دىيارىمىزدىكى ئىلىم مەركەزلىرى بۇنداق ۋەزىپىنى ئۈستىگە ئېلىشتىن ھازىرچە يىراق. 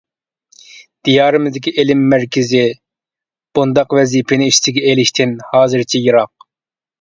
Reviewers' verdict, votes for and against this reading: rejected, 1, 2